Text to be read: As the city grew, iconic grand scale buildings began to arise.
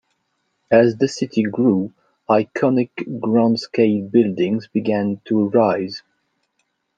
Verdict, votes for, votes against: rejected, 0, 2